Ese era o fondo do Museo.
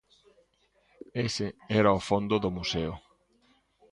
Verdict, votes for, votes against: rejected, 0, 2